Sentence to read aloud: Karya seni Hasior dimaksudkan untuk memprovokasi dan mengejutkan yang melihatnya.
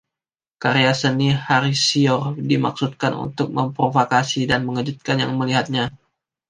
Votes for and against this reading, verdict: 2, 1, accepted